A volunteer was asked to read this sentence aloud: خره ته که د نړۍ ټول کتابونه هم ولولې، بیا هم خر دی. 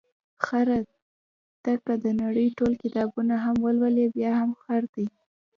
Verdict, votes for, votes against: accepted, 2, 0